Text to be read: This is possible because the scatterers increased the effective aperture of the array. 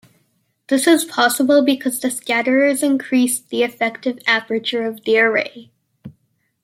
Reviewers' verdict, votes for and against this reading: accepted, 2, 0